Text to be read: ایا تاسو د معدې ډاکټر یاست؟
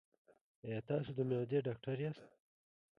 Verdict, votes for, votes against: accepted, 2, 0